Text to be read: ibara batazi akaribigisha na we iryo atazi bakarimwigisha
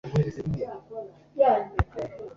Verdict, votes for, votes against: rejected, 0, 2